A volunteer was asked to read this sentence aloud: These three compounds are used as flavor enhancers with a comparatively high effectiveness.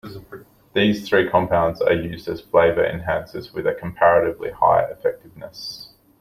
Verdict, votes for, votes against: accepted, 2, 0